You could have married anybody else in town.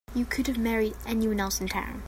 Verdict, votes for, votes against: rejected, 1, 2